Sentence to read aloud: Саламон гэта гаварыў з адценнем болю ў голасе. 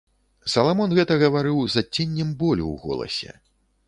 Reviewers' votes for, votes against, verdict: 2, 0, accepted